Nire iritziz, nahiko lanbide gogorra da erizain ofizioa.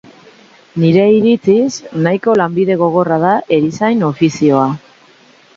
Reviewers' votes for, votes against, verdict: 3, 0, accepted